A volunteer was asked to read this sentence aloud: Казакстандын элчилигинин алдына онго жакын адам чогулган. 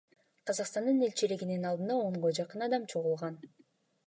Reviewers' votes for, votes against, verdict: 2, 0, accepted